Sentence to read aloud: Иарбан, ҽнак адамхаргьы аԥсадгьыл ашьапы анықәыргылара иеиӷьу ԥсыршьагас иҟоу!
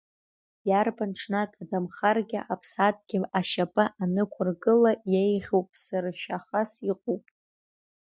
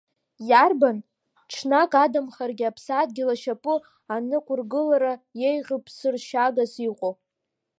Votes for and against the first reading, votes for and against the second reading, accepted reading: 0, 2, 2, 0, second